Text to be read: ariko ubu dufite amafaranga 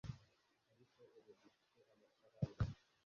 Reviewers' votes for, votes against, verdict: 1, 2, rejected